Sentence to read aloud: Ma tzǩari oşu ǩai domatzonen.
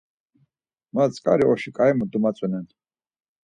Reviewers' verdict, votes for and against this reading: accepted, 4, 2